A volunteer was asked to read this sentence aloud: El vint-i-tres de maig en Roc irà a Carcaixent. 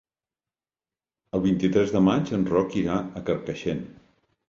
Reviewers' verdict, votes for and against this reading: rejected, 0, 2